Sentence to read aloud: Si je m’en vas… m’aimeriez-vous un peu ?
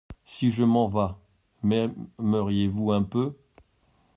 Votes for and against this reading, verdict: 0, 2, rejected